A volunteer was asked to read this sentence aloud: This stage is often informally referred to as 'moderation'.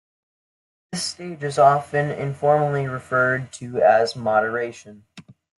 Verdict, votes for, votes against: rejected, 1, 2